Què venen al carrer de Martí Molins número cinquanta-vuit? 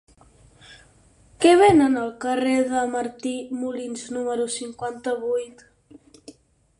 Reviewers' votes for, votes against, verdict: 6, 2, accepted